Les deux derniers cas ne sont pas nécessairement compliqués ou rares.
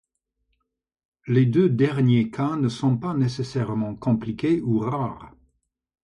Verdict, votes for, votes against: accepted, 2, 0